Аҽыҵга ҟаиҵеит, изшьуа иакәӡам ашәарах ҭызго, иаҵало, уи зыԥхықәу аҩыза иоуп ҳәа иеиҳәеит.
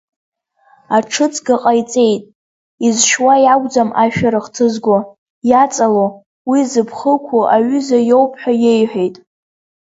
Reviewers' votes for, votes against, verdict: 0, 2, rejected